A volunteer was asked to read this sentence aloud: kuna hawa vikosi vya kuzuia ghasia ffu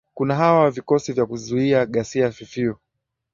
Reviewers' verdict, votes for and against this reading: accepted, 2, 0